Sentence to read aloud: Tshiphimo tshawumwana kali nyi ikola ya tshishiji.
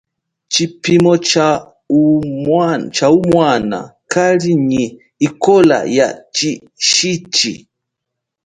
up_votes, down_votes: 2, 0